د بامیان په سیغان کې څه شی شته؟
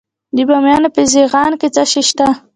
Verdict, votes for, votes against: rejected, 1, 2